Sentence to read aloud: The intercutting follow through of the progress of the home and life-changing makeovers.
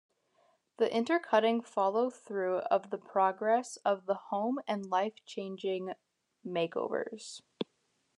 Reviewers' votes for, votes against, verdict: 2, 0, accepted